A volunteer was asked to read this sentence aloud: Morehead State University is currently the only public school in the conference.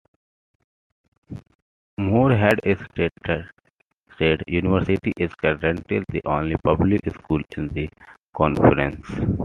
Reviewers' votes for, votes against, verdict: 0, 2, rejected